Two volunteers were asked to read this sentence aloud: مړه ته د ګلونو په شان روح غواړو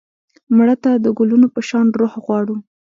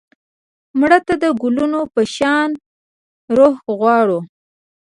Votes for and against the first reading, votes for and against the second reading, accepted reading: 1, 2, 2, 0, second